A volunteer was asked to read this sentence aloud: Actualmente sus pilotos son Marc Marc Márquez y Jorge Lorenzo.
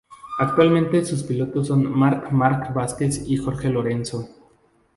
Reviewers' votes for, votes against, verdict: 0, 2, rejected